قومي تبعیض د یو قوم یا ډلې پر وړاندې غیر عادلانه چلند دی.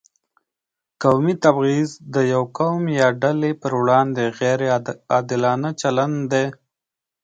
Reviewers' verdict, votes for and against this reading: accepted, 2, 0